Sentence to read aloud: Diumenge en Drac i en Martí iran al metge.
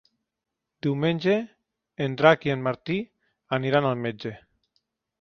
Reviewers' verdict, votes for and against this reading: rejected, 0, 2